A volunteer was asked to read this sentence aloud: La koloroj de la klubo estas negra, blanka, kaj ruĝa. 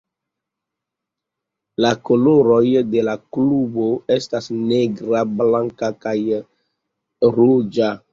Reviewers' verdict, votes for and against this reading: rejected, 1, 2